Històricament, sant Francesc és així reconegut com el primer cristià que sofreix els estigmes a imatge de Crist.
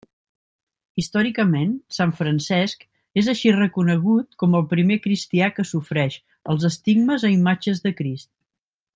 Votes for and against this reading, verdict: 0, 2, rejected